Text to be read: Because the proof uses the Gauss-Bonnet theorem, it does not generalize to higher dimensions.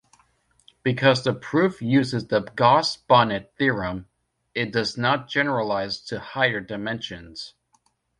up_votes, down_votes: 2, 1